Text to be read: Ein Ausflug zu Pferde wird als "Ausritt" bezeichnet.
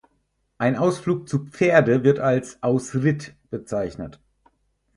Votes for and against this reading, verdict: 2, 4, rejected